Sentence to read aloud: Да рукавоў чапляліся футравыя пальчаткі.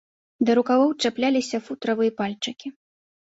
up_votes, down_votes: 0, 2